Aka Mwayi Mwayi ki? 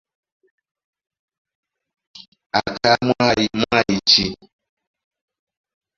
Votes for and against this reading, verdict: 1, 2, rejected